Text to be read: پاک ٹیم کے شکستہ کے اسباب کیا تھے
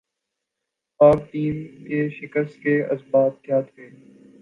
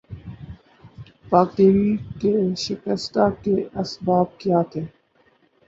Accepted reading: first